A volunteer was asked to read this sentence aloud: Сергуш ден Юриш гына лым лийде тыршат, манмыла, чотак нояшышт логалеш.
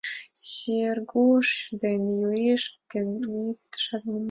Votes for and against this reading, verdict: 1, 2, rejected